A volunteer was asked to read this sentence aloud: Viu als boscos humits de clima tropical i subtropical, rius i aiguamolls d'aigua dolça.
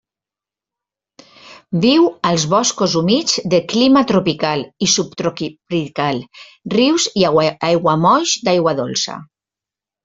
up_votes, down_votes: 0, 2